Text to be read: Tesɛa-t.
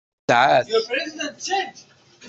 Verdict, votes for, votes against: rejected, 0, 2